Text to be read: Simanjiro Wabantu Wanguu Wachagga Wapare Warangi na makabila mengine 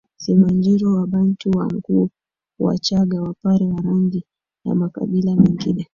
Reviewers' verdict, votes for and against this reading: accepted, 3, 2